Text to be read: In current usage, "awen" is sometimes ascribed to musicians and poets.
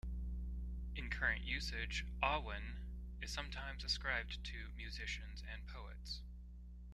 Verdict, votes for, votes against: accepted, 3, 2